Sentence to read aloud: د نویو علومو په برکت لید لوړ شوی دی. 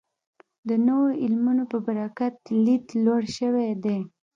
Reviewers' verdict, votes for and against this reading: accepted, 2, 0